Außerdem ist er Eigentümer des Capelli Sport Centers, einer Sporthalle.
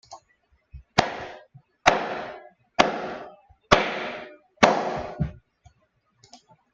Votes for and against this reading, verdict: 0, 2, rejected